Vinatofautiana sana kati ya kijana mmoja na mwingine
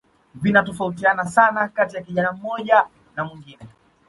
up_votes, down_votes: 2, 0